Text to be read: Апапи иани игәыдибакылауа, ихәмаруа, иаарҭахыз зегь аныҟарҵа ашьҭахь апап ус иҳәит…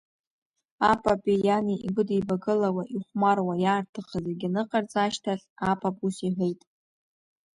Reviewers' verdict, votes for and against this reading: rejected, 0, 2